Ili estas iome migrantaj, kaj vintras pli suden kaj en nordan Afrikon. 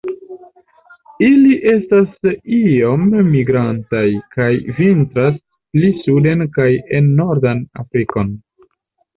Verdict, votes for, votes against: accepted, 2, 0